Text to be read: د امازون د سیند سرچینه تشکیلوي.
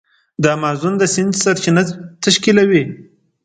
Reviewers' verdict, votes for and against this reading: accepted, 2, 0